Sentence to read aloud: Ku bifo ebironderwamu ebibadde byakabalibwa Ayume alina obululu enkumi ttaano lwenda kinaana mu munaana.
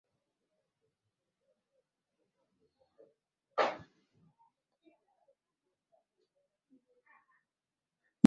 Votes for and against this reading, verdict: 0, 2, rejected